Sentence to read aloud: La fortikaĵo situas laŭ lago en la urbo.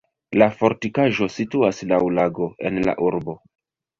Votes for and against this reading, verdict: 1, 2, rejected